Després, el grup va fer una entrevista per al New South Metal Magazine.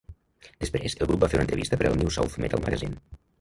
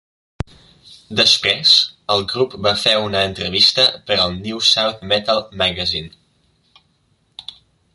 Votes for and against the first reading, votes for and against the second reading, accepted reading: 0, 2, 3, 0, second